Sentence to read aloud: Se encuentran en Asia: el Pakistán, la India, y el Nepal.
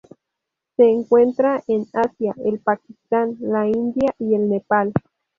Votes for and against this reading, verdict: 2, 2, rejected